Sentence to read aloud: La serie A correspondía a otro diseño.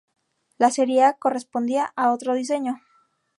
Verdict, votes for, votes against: accepted, 4, 0